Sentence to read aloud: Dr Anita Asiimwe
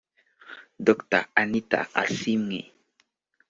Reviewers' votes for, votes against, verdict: 2, 0, accepted